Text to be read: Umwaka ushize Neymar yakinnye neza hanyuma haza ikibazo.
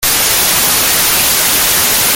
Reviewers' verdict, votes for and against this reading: rejected, 0, 2